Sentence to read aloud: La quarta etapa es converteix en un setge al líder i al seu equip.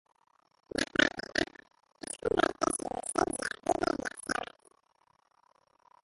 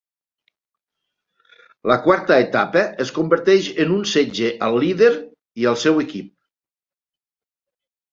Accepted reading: second